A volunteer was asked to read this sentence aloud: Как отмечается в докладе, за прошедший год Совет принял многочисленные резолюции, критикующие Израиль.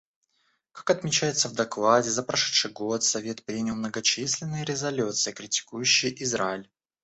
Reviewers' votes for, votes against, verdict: 2, 0, accepted